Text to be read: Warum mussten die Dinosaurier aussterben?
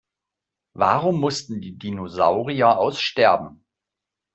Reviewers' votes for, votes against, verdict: 2, 0, accepted